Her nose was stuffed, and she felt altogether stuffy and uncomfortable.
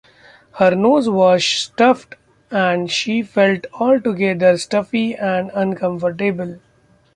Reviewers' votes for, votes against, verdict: 2, 0, accepted